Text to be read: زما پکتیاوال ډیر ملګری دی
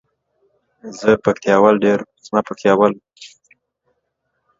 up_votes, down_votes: 0, 2